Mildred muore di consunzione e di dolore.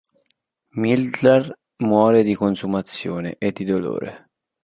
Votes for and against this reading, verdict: 0, 2, rejected